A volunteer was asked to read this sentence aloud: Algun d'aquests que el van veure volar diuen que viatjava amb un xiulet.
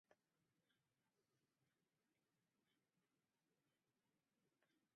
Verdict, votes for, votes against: rejected, 4, 8